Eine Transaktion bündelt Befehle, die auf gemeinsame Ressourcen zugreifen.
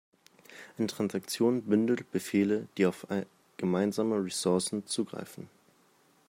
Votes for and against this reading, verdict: 0, 2, rejected